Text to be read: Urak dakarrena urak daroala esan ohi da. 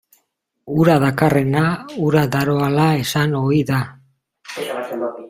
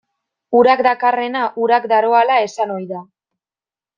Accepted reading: second